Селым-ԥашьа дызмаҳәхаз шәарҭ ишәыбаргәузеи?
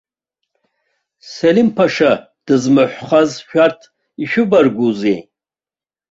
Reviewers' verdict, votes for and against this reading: accepted, 2, 0